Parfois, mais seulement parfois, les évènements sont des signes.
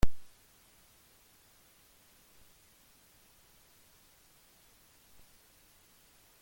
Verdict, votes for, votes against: rejected, 0, 2